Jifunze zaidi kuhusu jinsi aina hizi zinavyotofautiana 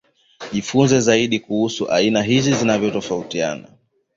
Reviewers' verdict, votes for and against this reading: rejected, 1, 2